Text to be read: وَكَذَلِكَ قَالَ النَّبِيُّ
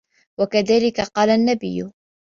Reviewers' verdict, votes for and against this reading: accepted, 2, 0